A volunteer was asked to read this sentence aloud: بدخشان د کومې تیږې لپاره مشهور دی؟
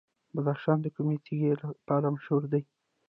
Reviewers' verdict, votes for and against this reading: rejected, 1, 2